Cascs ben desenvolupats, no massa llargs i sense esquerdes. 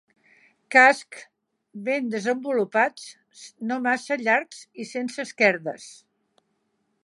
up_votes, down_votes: 2, 1